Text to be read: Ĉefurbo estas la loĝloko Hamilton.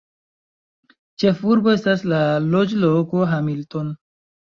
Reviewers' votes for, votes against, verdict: 2, 1, accepted